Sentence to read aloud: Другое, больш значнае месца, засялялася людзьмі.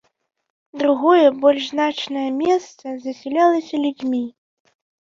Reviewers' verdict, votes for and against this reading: accepted, 3, 0